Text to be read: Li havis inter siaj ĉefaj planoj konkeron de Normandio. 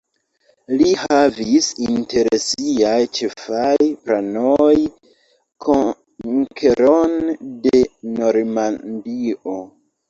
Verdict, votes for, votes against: rejected, 0, 2